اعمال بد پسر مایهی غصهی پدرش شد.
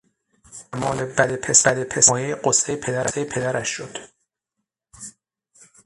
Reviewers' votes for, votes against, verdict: 0, 6, rejected